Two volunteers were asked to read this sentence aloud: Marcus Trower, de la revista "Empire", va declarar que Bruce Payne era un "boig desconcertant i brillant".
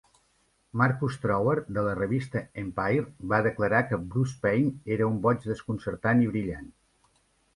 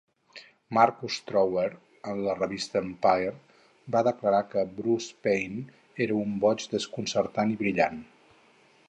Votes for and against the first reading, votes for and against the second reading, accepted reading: 2, 0, 2, 4, first